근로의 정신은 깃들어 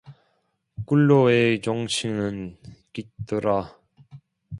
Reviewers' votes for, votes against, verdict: 1, 2, rejected